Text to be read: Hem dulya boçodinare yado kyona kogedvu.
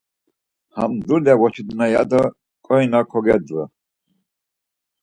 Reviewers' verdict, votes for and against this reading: rejected, 0, 4